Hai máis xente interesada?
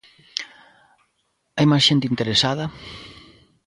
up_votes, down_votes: 2, 0